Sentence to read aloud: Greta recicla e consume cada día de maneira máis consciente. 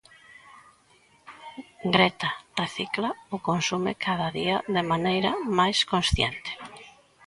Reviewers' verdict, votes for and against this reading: rejected, 0, 2